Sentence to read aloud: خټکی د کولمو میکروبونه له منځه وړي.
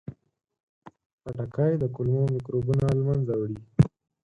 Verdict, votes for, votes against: rejected, 0, 4